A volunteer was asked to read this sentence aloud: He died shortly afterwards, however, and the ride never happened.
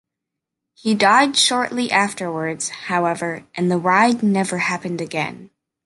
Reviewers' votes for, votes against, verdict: 1, 2, rejected